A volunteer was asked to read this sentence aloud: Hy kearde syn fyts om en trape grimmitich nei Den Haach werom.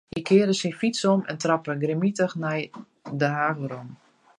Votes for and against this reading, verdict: 0, 2, rejected